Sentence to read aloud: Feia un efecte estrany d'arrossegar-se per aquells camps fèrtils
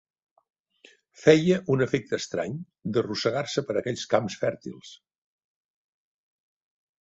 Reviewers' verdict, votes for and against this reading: accepted, 3, 0